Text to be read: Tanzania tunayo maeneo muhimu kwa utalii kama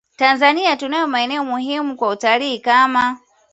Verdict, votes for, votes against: accepted, 2, 0